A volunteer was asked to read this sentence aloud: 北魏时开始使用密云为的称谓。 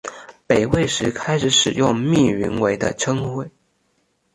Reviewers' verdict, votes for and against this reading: accepted, 2, 0